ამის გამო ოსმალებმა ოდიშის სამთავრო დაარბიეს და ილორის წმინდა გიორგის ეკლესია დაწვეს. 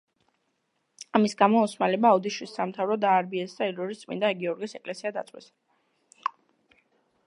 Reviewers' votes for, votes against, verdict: 2, 0, accepted